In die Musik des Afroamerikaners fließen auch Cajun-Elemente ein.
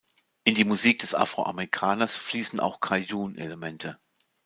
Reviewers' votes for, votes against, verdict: 0, 2, rejected